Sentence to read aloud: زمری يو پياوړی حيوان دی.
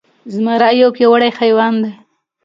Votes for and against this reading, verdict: 2, 0, accepted